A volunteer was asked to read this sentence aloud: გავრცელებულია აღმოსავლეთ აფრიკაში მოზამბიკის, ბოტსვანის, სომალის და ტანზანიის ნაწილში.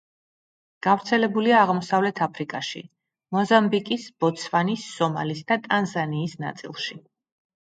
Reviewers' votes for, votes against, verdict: 2, 0, accepted